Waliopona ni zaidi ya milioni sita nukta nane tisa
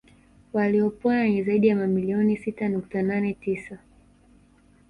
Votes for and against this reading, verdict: 2, 0, accepted